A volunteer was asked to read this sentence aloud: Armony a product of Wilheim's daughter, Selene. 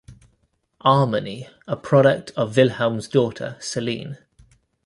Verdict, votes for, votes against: accepted, 3, 1